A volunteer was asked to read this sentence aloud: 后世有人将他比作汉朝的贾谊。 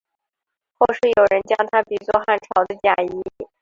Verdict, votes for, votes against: rejected, 2, 2